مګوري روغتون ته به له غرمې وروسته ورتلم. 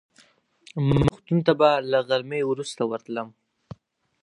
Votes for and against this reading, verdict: 0, 4, rejected